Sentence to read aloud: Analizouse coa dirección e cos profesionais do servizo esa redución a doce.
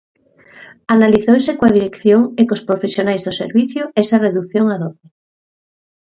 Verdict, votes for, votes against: rejected, 1, 3